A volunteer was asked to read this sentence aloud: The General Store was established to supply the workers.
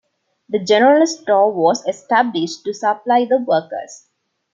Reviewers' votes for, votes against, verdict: 2, 0, accepted